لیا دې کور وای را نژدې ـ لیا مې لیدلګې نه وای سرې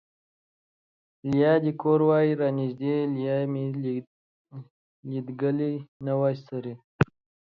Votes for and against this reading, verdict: 2, 3, rejected